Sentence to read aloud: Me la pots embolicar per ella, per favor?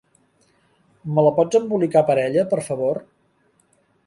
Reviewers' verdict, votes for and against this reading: accepted, 3, 0